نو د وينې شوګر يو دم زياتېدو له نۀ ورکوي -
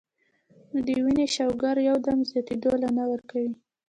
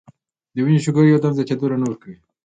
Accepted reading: second